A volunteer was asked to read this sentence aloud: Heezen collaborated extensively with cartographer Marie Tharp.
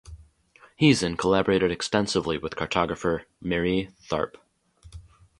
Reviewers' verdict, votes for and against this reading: accepted, 4, 0